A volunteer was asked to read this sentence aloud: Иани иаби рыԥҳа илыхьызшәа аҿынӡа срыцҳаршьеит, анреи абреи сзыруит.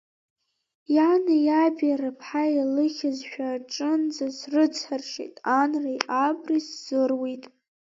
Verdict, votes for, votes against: accepted, 2, 1